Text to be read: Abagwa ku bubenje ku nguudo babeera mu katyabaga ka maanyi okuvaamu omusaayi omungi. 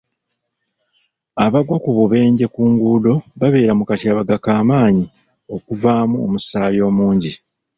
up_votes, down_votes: 2, 0